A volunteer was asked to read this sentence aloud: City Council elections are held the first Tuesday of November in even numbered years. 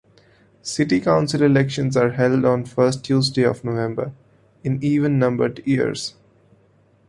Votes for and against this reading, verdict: 1, 3, rejected